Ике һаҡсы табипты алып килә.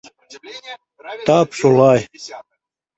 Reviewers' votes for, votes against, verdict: 0, 2, rejected